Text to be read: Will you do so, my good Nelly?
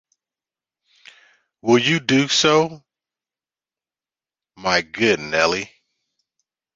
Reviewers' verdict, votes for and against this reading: accepted, 2, 0